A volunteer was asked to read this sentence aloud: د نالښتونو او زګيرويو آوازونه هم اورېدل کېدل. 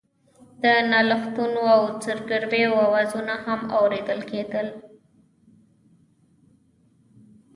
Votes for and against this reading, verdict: 1, 2, rejected